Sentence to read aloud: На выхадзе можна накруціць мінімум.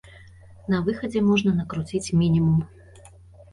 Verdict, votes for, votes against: rejected, 0, 2